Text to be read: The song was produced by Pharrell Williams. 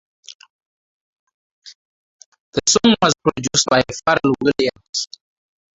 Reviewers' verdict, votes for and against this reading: rejected, 0, 2